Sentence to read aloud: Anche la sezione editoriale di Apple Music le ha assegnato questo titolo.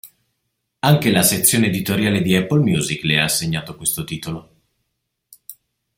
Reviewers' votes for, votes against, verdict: 2, 0, accepted